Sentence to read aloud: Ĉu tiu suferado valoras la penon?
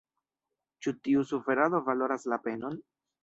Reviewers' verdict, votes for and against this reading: rejected, 1, 2